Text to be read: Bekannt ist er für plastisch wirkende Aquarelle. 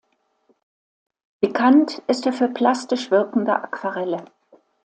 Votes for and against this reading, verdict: 2, 0, accepted